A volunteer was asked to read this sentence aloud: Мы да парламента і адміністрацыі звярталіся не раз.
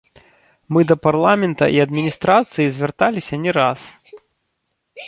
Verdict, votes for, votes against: rejected, 1, 2